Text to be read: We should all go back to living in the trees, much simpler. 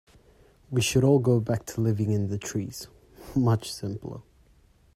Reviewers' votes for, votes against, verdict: 2, 1, accepted